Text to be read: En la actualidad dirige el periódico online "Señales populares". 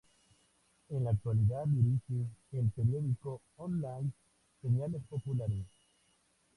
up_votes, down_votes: 0, 2